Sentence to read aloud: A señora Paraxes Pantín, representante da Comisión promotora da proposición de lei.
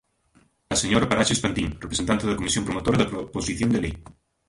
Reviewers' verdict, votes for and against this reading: rejected, 0, 2